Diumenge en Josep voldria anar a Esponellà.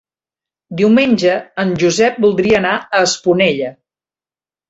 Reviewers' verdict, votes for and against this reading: rejected, 0, 2